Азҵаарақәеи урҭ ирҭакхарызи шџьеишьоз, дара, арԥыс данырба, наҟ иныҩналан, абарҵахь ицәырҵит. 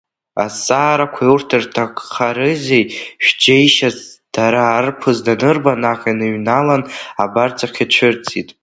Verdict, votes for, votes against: accepted, 2, 0